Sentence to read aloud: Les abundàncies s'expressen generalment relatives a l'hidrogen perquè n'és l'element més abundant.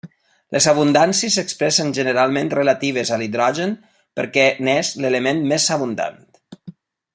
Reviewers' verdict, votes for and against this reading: accepted, 3, 0